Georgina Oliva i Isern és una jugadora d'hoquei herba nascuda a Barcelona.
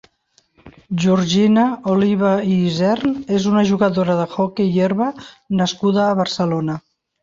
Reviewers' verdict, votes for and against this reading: rejected, 2, 3